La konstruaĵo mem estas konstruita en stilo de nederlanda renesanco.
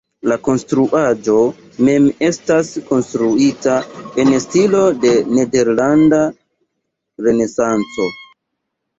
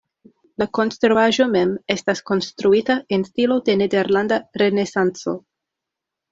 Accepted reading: second